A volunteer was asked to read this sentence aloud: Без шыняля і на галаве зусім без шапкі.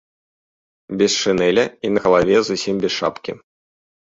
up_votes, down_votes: 0, 3